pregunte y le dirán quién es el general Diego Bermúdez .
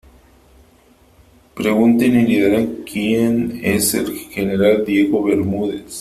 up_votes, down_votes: 2, 0